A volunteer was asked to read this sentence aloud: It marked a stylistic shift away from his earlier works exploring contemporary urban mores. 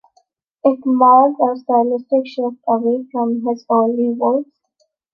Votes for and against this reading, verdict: 0, 2, rejected